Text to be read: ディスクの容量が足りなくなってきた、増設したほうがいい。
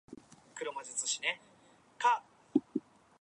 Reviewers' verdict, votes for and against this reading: rejected, 1, 2